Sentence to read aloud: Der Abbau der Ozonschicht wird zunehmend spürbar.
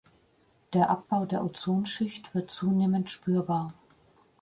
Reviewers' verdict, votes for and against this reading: accepted, 2, 0